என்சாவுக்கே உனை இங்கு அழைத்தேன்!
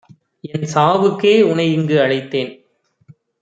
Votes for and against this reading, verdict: 1, 2, rejected